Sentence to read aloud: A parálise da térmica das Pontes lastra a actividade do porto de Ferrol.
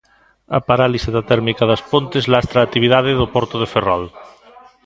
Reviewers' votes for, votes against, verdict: 2, 0, accepted